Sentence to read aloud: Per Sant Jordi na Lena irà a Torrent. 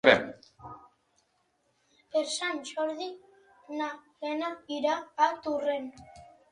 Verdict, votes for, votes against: rejected, 1, 2